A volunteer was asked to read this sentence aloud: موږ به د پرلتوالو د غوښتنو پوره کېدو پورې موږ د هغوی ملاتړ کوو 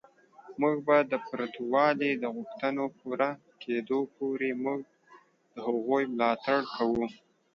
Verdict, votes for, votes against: rejected, 1, 2